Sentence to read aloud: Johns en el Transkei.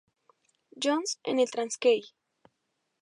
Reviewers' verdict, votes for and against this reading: rejected, 0, 2